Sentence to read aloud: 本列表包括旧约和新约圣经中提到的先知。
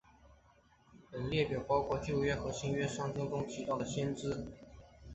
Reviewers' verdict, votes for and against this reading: accepted, 2, 1